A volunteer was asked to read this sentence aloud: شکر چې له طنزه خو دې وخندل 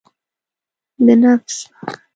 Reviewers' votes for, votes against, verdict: 0, 2, rejected